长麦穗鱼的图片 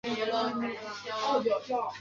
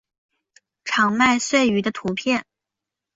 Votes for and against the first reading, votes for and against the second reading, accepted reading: 1, 2, 6, 0, second